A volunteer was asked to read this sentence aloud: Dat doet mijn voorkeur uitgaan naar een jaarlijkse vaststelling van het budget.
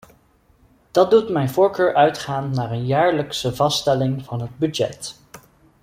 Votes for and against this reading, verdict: 2, 0, accepted